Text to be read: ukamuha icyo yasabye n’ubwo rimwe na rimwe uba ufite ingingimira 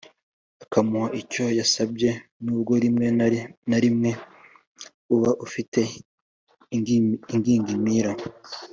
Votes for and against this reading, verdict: 0, 2, rejected